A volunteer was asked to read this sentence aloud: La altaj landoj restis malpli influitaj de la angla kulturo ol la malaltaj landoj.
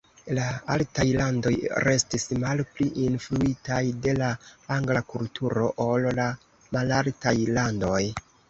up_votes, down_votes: 2, 0